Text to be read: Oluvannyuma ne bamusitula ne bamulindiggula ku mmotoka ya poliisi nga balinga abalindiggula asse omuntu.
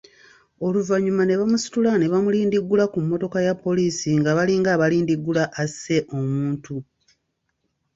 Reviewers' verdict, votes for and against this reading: accepted, 3, 0